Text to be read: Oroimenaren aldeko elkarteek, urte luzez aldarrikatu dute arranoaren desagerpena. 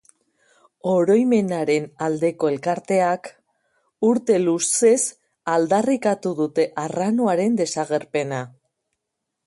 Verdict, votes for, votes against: rejected, 2, 3